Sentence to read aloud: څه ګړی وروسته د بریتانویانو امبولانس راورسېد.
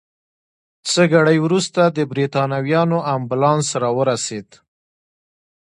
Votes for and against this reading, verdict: 2, 0, accepted